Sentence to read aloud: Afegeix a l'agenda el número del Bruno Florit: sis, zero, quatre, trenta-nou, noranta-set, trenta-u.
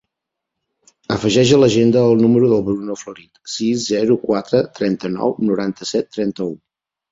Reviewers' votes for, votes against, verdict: 2, 0, accepted